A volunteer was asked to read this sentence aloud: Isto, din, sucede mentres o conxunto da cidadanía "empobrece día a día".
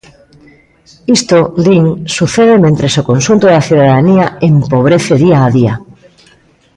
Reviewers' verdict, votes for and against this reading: rejected, 1, 2